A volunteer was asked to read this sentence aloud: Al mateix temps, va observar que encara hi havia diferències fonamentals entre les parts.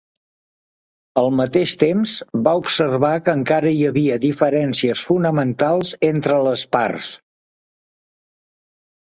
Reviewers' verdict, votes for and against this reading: accepted, 2, 0